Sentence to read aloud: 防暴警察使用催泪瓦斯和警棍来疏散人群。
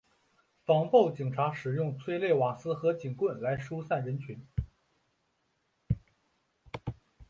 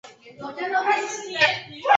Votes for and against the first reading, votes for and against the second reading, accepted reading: 3, 0, 0, 2, first